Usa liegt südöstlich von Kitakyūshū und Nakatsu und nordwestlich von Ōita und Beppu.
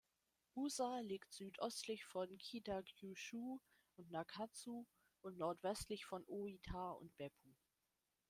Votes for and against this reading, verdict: 0, 2, rejected